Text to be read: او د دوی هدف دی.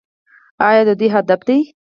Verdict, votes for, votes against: accepted, 4, 0